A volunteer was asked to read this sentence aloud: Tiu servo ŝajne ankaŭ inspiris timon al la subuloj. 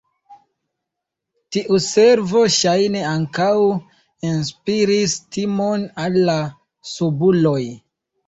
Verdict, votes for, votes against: accepted, 2, 1